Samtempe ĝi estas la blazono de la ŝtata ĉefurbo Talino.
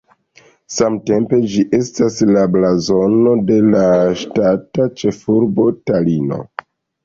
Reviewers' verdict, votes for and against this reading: rejected, 1, 2